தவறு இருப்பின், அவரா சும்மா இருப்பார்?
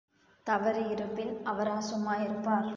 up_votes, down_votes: 3, 0